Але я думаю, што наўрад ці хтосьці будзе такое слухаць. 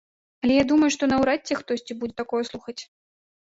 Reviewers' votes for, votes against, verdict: 2, 0, accepted